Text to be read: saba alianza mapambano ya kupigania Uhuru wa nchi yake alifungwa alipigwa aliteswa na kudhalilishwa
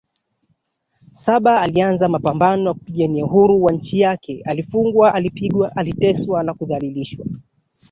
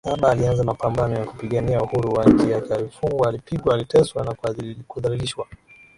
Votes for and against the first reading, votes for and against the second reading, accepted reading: 2, 1, 0, 2, first